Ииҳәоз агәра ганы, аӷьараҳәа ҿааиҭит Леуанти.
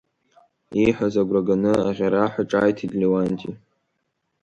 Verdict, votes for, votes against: rejected, 0, 2